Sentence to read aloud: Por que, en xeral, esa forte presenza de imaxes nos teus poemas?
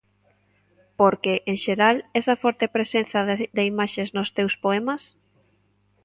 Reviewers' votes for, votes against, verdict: 1, 2, rejected